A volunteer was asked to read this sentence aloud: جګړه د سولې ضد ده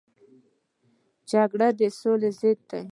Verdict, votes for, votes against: accepted, 2, 1